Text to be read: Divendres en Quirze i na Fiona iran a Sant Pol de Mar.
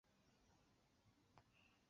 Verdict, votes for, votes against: rejected, 2, 4